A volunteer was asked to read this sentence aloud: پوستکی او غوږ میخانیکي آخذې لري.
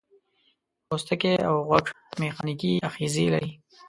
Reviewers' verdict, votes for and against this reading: accepted, 2, 0